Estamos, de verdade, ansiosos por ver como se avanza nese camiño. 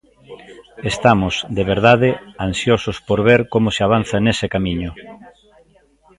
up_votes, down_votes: 0, 2